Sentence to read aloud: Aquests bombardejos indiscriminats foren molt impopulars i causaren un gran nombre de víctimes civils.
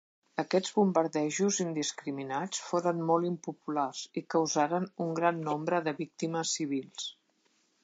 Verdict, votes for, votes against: accepted, 2, 0